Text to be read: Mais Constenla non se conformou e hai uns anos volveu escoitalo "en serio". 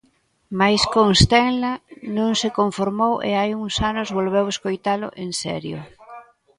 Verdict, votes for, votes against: accepted, 2, 0